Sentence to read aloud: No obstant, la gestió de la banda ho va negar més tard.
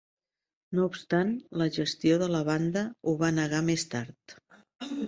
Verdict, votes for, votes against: accepted, 2, 0